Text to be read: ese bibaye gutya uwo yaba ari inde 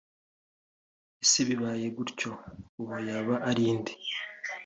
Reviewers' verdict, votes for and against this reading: accepted, 2, 1